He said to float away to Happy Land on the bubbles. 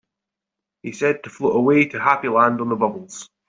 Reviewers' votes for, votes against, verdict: 3, 0, accepted